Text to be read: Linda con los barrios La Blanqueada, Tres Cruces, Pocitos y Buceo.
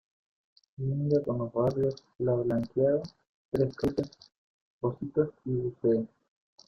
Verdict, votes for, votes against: rejected, 0, 2